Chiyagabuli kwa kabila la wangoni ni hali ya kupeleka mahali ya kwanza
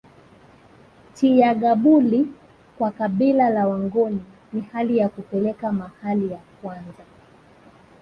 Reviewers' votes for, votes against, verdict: 4, 2, accepted